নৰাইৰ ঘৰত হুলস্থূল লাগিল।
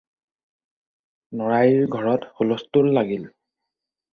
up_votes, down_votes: 4, 0